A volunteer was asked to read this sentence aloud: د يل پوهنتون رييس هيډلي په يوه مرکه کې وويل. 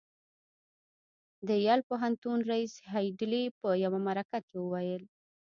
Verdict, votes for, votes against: rejected, 0, 2